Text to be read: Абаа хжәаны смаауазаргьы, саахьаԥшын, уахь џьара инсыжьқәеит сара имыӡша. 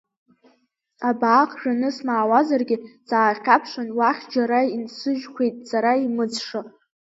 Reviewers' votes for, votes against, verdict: 2, 1, accepted